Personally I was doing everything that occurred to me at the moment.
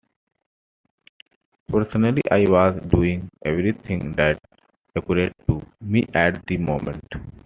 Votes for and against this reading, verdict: 2, 0, accepted